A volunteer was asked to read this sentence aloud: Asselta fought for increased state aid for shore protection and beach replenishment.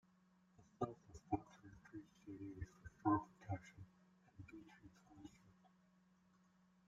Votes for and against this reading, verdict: 0, 2, rejected